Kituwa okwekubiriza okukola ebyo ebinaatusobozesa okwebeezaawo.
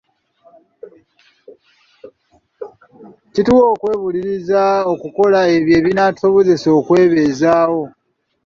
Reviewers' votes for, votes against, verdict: 1, 2, rejected